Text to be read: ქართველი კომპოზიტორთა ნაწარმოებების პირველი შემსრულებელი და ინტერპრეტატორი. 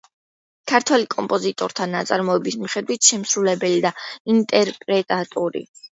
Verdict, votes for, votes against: rejected, 0, 2